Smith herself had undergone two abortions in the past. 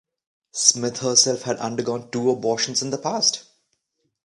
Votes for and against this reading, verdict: 2, 0, accepted